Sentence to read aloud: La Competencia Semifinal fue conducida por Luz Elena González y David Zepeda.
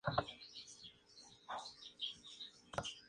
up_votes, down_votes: 0, 2